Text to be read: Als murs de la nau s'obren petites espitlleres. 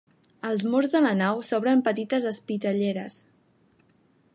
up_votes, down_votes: 0, 2